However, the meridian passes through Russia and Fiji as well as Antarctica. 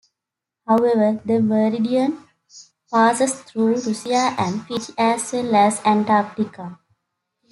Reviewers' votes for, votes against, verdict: 1, 2, rejected